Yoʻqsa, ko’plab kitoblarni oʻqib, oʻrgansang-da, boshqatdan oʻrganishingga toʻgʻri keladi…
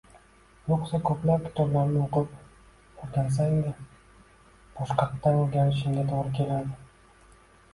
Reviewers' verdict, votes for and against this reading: accepted, 2, 1